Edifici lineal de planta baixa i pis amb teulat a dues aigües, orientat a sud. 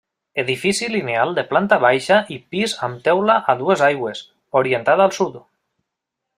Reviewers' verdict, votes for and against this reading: rejected, 0, 2